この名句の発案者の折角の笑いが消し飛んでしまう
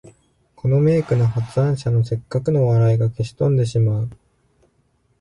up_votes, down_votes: 2, 0